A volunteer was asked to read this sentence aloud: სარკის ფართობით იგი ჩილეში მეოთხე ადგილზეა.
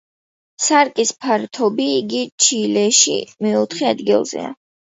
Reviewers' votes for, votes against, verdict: 2, 0, accepted